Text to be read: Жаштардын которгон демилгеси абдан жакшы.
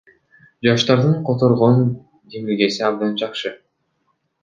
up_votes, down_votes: 0, 2